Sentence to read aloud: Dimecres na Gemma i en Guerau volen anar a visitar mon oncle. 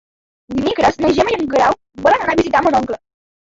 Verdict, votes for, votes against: accepted, 2, 0